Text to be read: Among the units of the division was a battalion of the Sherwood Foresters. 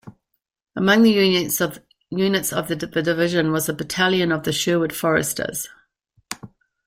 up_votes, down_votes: 0, 2